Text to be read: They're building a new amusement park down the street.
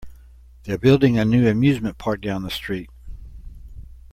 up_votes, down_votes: 2, 0